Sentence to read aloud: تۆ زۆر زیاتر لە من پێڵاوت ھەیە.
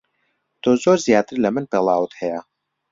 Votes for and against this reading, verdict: 2, 1, accepted